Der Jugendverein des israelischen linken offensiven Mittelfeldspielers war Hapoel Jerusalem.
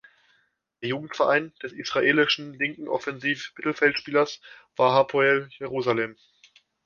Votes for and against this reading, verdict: 1, 2, rejected